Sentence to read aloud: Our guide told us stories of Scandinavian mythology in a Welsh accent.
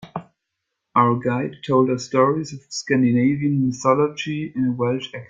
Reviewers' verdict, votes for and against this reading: rejected, 1, 2